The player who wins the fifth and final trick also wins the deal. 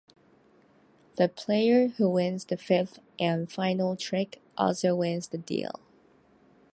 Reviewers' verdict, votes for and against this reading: accepted, 2, 0